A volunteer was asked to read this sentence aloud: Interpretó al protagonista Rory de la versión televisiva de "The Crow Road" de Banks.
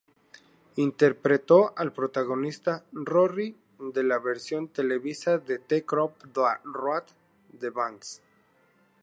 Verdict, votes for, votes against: accepted, 2, 0